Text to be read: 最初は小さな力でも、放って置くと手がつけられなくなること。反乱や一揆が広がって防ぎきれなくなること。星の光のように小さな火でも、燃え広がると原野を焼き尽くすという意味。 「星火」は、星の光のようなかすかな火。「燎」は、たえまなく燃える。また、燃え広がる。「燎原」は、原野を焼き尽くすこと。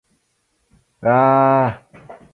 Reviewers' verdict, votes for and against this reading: rejected, 2, 2